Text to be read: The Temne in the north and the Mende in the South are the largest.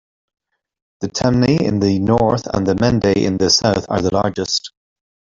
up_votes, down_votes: 2, 1